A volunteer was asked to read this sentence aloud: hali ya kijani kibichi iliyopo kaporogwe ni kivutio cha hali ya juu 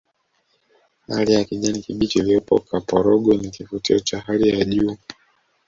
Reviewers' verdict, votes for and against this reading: rejected, 0, 2